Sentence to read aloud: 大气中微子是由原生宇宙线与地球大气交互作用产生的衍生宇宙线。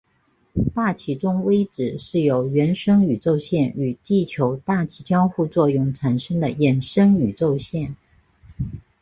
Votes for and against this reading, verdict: 2, 0, accepted